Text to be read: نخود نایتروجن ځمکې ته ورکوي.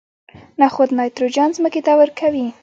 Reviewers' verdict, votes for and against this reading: accepted, 2, 1